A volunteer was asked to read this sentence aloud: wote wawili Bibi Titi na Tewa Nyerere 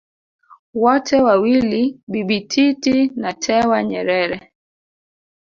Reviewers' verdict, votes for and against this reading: rejected, 1, 2